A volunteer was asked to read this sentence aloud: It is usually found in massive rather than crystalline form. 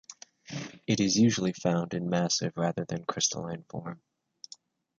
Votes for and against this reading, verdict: 2, 1, accepted